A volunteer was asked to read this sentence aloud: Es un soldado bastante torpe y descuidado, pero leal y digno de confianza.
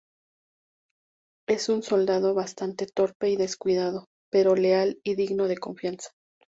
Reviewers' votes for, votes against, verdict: 2, 0, accepted